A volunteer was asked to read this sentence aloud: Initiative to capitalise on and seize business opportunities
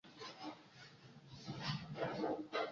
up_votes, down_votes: 0, 2